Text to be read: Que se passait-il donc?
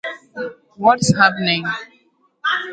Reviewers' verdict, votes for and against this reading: rejected, 0, 2